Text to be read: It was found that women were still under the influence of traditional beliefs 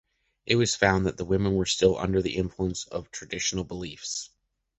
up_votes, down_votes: 1, 2